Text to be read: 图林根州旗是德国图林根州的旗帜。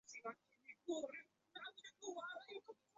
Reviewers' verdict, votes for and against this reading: rejected, 0, 4